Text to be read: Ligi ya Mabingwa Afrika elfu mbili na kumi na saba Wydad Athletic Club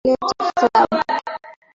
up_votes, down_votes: 0, 2